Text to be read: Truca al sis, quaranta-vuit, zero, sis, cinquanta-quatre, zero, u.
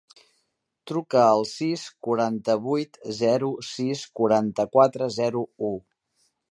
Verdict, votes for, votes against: rejected, 1, 2